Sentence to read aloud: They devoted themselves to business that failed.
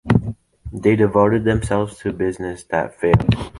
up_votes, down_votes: 2, 0